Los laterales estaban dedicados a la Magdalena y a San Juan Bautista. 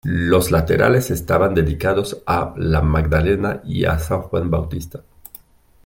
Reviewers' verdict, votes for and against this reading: accepted, 2, 0